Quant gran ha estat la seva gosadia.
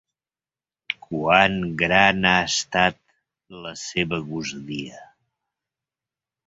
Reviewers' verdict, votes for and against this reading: accepted, 2, 1